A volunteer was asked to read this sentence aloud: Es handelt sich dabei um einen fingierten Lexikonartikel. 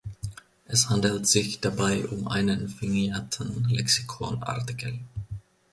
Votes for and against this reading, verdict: 0, 2, rejected